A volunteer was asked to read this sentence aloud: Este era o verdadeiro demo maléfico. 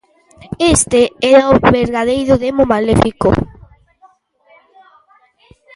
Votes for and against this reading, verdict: 0, 2, rejected